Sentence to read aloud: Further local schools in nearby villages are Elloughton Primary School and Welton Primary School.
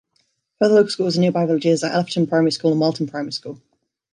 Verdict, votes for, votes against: rejected, 1, 2